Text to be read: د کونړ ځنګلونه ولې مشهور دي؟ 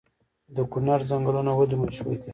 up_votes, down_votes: 1, 2